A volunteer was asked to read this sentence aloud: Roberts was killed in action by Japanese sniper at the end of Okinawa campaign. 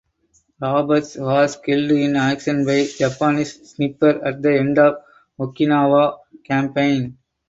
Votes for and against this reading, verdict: 2, 4, rejected